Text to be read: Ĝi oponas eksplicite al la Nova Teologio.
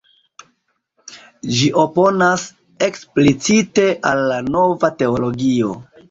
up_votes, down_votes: 2, 0